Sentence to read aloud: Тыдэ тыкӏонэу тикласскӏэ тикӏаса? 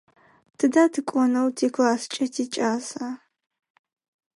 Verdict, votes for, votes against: accepted, 4, 0